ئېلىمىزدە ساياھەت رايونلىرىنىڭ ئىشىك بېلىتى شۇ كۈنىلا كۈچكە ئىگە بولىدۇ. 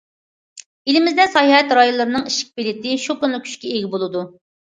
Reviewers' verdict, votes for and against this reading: accepted, 2, 1